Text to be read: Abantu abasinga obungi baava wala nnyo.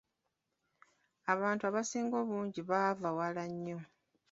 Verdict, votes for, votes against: accepted, 2, 0